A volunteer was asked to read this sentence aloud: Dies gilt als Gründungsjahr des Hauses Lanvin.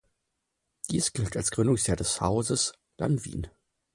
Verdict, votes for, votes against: accepted, 6, 0